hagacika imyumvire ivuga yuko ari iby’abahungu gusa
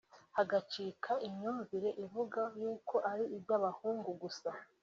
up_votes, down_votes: 2, 1